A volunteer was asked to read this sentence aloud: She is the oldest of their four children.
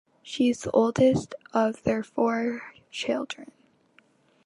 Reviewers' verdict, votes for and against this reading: accepted, 3, 0